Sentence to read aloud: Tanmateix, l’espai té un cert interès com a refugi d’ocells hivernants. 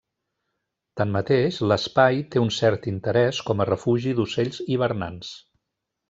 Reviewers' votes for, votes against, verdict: 3, 1, accepted